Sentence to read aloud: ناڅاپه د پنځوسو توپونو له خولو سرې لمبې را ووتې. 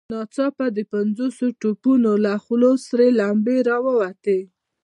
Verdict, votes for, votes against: accepted, 2, 0